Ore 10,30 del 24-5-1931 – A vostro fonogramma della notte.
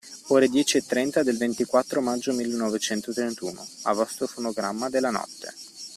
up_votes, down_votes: 0, 2